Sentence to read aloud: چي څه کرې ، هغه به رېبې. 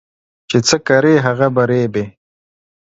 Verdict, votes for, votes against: accepted, 2, 0